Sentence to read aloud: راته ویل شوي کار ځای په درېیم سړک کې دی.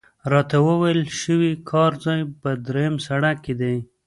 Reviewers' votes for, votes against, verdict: 1, 2, rejected